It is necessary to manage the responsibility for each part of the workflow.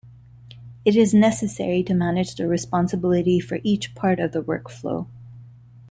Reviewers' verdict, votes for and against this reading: accepted, 2, 1